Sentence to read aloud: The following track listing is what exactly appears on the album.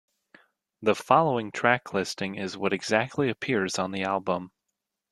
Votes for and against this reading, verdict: 2, 0, accepted